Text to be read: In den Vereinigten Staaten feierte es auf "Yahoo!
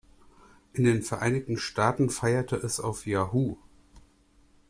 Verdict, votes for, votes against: accepted, 2, 0